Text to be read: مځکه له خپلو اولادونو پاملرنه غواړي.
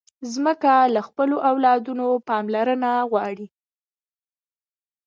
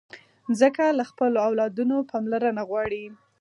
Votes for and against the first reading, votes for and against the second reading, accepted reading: 1, 2, 4, 0, second